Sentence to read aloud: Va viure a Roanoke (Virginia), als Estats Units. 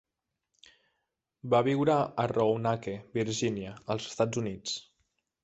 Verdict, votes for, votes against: rejected, 1, 2